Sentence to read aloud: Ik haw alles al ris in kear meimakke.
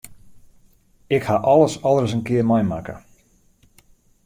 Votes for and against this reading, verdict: 2, 0, accepted